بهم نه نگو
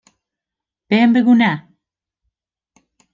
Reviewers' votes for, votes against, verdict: 0, 2, rejected